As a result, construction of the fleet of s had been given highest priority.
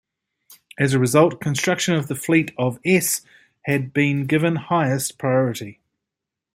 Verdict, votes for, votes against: accepted, 2, 1